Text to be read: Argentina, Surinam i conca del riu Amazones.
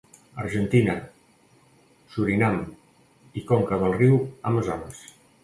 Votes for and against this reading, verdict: 2, 0, accepted